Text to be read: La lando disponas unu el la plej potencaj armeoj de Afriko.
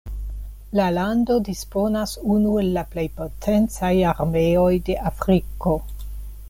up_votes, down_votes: 2, 0